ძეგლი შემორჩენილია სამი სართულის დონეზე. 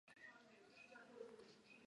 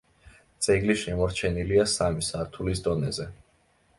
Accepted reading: second